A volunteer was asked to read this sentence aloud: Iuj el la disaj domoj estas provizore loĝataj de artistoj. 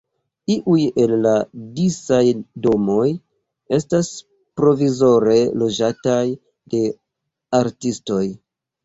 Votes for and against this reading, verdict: 2, 0, accepted